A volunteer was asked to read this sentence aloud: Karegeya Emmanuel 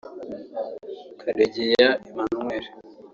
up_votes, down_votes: 0, 2